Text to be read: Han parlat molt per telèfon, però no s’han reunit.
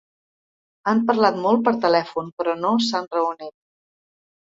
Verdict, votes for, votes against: accepted, 2, 0